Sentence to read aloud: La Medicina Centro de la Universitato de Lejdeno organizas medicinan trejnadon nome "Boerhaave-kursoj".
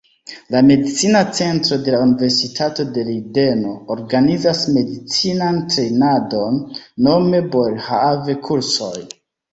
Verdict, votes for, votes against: rejected, 0, 2